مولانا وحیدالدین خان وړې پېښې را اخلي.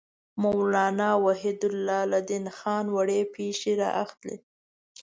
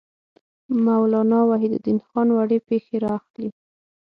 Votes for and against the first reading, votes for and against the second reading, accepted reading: 0, 2, 6, 0, second